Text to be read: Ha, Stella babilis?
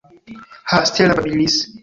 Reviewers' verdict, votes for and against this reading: rejected, 0, 2